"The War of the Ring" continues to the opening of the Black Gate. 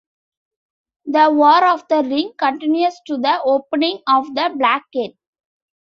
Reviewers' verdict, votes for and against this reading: accepted, 2, 0